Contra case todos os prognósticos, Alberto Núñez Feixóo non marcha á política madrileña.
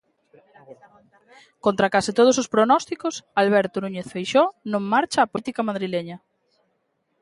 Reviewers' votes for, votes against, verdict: 2, 1, accepted